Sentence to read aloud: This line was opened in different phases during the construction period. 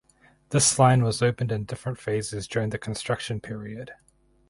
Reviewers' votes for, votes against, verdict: 4, 0, accepted